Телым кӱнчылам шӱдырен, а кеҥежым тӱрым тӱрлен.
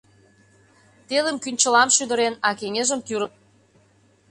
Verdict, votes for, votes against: rejected, 0, 2